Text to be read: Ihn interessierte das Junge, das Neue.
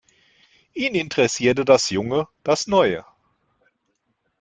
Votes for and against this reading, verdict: 2, 0, accepted